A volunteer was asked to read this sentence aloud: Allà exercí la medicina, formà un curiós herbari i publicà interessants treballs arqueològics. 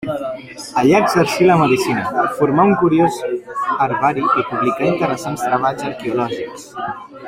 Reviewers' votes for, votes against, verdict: 1, 2, rejected